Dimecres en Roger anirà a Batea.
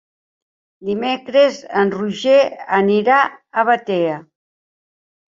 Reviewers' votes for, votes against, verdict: 3, 0, accepted